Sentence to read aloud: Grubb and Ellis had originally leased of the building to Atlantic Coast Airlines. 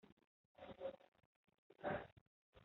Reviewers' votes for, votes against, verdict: 0, 2, rejected